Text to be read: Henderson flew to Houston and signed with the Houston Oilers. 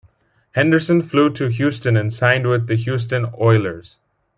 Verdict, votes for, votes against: accepted, 2, 0